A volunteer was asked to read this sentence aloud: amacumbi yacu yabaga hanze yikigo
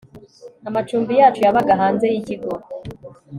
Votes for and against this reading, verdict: 2, 0, accepted